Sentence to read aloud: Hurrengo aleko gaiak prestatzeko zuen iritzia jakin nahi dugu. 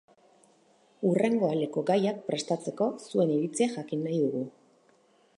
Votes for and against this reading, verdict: 2, 2, rejected